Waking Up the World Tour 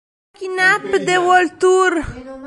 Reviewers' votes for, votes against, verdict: 0, 2, rejected